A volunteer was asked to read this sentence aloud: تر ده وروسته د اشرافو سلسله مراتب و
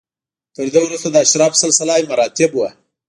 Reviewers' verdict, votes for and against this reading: accepted, 2, 0